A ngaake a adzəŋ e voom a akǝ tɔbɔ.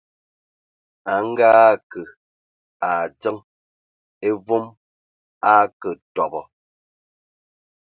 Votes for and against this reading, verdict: 2, 0, accepted